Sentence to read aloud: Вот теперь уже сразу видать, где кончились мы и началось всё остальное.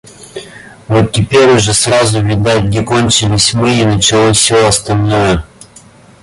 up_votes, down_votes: 2, 0